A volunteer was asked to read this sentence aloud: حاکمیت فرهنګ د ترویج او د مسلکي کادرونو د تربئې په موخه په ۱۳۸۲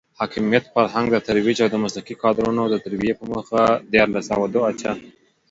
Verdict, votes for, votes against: rejected, 0, 2